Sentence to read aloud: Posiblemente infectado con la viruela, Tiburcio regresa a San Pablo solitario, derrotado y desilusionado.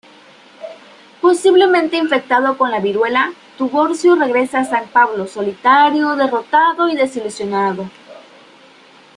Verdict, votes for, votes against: accepted, 2, 0